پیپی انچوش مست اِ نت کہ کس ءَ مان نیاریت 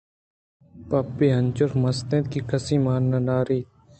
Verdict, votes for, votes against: rejected, 1, 2